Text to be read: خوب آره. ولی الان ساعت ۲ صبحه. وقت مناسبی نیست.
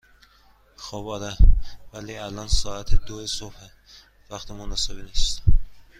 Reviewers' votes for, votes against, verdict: 0, 2, rejected